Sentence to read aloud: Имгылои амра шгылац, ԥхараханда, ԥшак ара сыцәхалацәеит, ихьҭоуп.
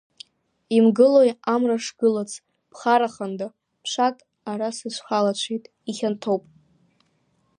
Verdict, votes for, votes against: rejected, 0, 2